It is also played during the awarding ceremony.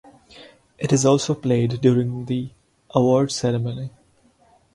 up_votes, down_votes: 2, 4